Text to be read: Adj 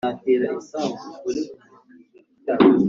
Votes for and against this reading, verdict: 0, 2, rejected